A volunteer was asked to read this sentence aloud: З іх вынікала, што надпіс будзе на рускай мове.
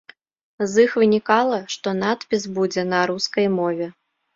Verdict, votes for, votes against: accepted, 2, 0